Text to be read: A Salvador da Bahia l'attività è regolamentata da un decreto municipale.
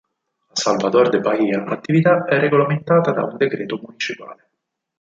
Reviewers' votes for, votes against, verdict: 2, 4, rejected